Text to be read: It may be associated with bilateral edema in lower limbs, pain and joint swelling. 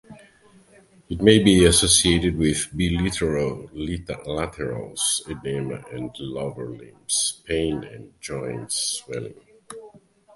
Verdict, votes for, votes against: rejected, 0, 2